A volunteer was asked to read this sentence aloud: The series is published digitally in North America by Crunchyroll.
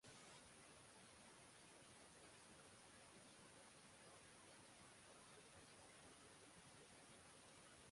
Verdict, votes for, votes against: rejected, 0, 6